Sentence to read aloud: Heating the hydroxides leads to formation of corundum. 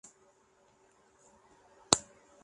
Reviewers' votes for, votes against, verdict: 1, 2, rejected